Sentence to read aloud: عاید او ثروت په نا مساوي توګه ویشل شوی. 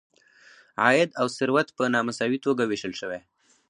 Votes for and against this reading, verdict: 2, 2, rejected